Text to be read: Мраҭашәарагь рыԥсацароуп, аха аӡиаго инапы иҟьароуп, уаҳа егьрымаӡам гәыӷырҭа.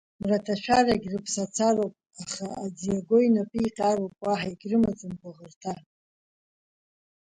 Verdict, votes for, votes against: accepted, 2, 0